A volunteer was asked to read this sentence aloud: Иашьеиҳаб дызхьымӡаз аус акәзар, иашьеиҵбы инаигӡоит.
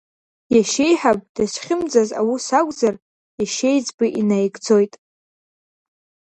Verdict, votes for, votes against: accepted, 2, 0